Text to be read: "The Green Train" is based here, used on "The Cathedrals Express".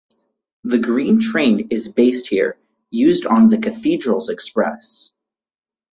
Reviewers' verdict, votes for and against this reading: accepted, 4, 0